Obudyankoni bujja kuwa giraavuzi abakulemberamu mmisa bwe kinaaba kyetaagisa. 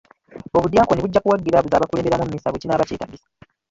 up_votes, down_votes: 0, 2